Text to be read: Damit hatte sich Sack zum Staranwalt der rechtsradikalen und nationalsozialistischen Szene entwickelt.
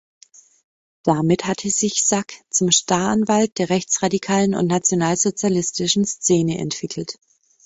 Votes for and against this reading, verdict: 1, 2, rejected